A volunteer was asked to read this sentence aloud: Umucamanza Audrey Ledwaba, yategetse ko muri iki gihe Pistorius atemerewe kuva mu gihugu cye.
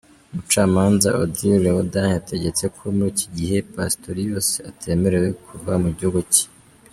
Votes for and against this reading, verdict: 2, 1, accepted